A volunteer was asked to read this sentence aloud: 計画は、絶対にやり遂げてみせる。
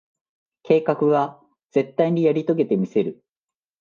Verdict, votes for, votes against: accepted, 2, 0